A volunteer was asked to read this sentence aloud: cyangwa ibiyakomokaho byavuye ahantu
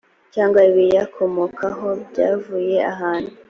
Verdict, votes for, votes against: accepted, 2, 0